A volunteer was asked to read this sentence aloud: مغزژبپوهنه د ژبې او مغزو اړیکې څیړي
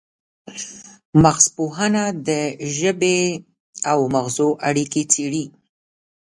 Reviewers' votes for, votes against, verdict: 0, 2, rejected